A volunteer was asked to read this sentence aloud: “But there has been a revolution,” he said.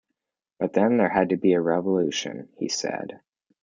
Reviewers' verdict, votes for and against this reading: rejected, 1, 2